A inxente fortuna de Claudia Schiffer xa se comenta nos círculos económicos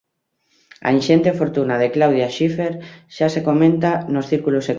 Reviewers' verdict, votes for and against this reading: rejected, 1, 2